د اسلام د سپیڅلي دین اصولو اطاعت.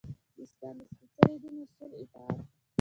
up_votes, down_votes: 1, 2